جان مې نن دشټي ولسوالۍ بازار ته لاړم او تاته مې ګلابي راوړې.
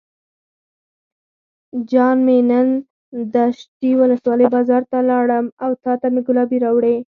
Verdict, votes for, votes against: rejected, 0, 4